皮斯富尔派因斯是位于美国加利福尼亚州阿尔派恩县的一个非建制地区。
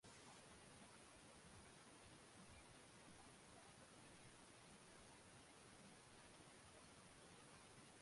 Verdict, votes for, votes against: rejected, 0, 2